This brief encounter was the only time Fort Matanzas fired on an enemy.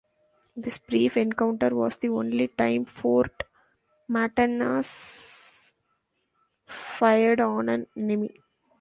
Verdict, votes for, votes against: rejected, 0, 2